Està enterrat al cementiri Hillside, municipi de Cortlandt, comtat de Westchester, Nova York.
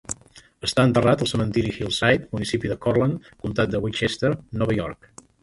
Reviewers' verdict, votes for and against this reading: accepted, 3, 1